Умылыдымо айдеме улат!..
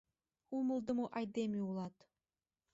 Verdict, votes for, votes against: rejected, 0, 2